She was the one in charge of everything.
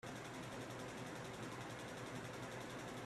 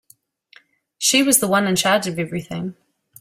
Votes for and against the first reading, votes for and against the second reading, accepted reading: 0, 3, 2, 0, second